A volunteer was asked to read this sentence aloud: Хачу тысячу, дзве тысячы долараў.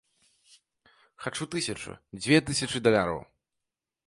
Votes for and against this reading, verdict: 0, 2, rejected